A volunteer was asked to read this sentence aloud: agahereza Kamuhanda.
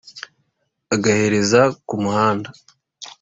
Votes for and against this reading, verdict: 4, 0, accepted